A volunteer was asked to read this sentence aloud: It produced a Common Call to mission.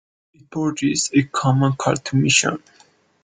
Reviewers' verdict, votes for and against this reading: rejected, 1, 2